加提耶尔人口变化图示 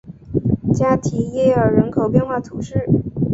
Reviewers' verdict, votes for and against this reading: accepted, 7, 0